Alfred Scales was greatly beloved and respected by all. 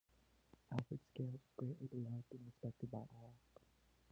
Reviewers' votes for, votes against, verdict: 0, 2, rejected